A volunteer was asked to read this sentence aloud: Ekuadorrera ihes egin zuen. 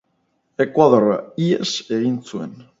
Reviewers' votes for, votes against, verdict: 2, 4, rejected